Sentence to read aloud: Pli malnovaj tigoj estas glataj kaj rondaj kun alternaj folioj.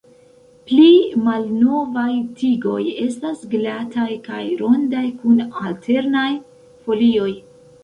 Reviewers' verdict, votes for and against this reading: rejected, 1, 2